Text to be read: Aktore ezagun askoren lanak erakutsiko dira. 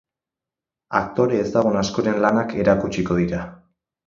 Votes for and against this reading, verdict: 4, 0, accepted